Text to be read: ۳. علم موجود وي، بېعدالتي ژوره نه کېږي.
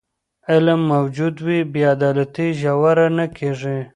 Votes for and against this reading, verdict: 0, 2, rejected